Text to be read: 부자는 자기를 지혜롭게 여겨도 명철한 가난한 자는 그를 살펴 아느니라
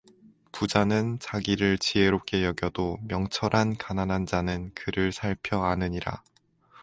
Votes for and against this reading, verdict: 2, 0, accepted